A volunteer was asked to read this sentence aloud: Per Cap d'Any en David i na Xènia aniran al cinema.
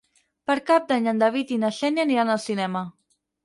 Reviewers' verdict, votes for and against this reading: accepted, 6, 0